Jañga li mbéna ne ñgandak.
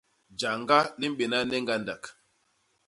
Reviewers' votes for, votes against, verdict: 2, 0, accepted